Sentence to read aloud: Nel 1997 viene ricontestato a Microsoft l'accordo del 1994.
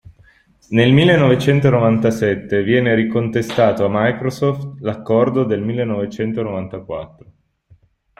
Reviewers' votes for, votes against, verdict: 0, 2, rejected